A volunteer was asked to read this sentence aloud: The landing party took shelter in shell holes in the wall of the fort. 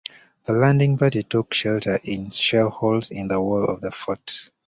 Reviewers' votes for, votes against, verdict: 2, 0, accepted